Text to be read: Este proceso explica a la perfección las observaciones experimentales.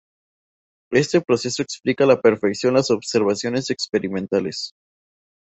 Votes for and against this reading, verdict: 0, 2, rejected